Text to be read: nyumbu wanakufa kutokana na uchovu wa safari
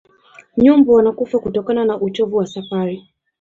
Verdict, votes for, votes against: accepted, 2, 1